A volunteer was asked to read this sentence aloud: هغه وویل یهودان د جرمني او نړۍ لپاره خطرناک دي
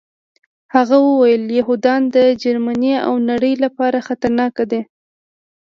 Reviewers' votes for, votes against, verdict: 2, 0, accepted